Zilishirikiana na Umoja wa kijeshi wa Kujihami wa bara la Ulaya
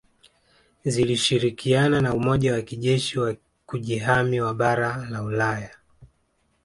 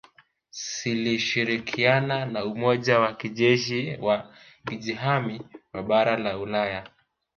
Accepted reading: first